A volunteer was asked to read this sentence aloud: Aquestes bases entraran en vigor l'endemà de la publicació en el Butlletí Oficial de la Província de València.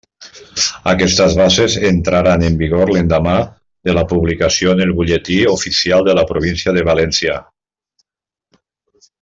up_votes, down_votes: 1, 2